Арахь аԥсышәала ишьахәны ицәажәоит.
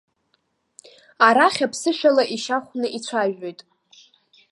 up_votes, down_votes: 1, 2